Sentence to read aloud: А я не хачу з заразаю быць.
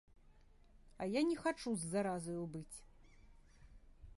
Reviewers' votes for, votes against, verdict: 2, 0, accepted